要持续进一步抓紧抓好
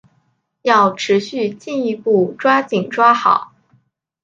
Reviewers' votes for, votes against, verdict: 2, 0, accepted